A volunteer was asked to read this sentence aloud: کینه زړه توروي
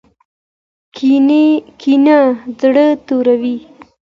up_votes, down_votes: 1, 2